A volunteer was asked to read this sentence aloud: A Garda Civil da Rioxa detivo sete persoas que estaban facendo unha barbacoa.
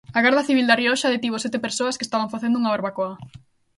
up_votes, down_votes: 2, 0